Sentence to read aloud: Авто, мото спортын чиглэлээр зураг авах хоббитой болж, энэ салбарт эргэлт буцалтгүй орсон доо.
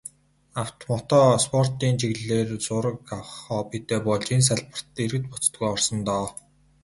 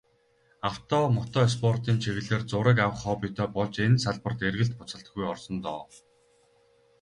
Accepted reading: first